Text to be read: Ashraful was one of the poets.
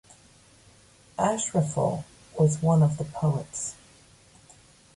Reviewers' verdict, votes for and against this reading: accepted, 2, 0